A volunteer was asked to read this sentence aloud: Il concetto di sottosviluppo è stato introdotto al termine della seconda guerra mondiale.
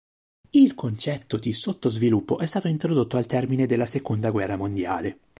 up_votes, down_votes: 2, 0